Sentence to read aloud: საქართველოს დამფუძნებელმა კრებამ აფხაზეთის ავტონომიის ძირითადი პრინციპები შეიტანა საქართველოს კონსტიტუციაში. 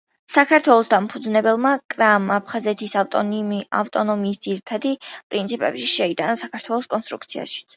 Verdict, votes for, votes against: rejected, 1, 2